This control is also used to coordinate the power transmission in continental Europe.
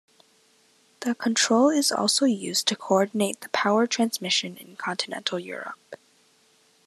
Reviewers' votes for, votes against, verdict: 2, 1, accepted